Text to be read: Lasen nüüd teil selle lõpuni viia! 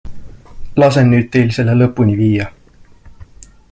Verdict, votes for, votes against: accepted, 2, 0